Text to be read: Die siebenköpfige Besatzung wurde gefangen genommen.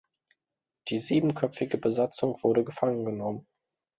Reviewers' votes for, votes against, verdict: 2, 0, accepted